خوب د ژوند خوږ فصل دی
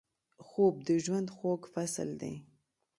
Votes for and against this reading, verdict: 2, 0, accepted